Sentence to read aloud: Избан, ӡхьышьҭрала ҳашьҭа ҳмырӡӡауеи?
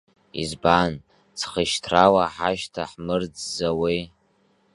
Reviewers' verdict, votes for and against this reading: accepted, 2, 1